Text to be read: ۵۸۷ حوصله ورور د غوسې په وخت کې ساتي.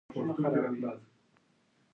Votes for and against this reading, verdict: 0, 2, rejected